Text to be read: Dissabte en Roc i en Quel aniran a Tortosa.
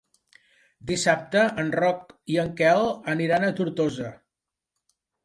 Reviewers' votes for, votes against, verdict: 5, 0, accepted